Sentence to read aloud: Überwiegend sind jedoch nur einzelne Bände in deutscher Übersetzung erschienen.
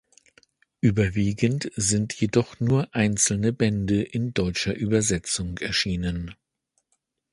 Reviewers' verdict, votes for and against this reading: accepted, 2, 0